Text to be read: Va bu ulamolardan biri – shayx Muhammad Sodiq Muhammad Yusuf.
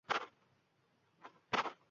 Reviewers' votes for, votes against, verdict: 0, 2, rejected